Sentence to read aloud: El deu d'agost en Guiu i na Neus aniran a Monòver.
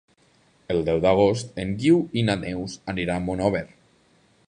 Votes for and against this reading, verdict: 1, 3, rejected